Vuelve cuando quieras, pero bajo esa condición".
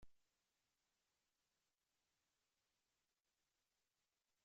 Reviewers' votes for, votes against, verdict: 0, 2, rejected